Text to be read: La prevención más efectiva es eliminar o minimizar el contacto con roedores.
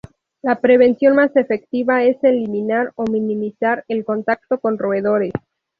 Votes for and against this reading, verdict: 0, 2, rejected